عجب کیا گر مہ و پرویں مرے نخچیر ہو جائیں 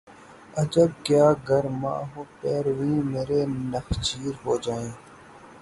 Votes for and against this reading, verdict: 0, 6, rejected